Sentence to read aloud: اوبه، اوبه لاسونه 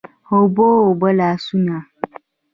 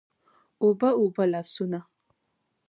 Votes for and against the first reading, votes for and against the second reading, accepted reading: 0, 2, 2, 0, second